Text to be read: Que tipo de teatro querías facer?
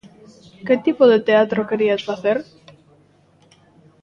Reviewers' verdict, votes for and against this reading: rejected, 1, 2